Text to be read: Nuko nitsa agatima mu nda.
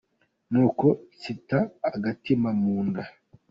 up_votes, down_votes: 2, 1